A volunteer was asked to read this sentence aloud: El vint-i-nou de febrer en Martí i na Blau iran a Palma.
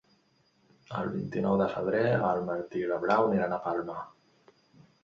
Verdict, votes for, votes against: rejected, 0, 2